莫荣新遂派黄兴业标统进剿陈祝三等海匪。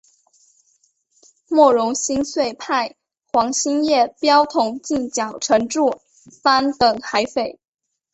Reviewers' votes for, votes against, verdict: 2, 0, accepted